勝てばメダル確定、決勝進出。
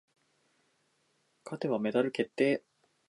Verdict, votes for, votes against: accepted, 10, 4